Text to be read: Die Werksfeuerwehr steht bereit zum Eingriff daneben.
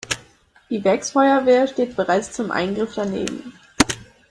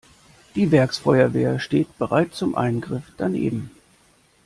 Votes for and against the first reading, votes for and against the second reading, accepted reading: 0, 2, 2, 0, second